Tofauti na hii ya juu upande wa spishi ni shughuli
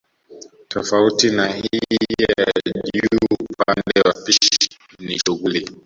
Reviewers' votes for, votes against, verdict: 0, 2, rejected